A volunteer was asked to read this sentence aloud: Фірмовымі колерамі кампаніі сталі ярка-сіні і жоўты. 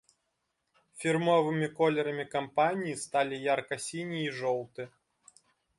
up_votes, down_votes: 2, 0